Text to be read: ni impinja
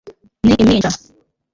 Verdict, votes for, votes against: rejected, 0, 2